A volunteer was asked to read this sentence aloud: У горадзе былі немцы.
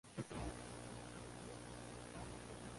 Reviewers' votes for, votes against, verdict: 0, 3, rejected